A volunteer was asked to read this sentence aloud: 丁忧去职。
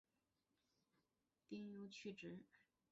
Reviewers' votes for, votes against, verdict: 0, 3, rejected